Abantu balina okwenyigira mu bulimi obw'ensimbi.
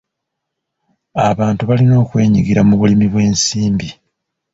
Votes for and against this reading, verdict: 3, 0, accepted